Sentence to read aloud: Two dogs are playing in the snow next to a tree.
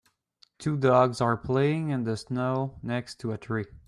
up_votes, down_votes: 2, 0